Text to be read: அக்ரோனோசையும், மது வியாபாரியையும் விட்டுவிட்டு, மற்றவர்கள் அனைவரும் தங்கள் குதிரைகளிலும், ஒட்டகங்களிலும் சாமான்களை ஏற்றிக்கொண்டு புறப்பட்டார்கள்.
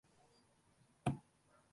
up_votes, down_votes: 0, 2